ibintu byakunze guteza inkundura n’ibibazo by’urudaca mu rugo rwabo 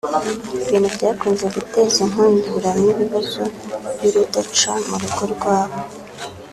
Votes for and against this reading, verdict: 3, 0, accepted